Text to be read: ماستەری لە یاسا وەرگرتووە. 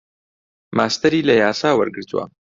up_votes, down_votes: 2, 0